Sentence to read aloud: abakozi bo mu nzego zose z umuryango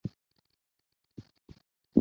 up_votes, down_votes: 0, 2